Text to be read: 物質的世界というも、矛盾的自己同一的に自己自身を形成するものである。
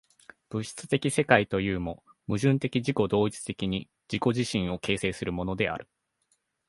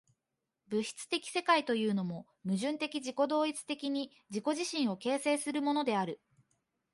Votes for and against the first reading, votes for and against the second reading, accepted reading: 2, 1, 1, 2, first